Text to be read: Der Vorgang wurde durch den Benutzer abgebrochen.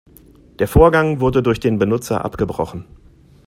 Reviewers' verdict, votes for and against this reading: accepted, 2, 0